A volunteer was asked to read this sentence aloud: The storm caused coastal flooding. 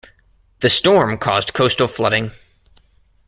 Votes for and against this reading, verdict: 1, 2, rejected